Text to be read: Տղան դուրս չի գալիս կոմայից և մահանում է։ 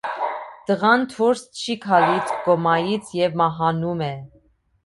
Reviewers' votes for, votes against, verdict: 2, 0, accepted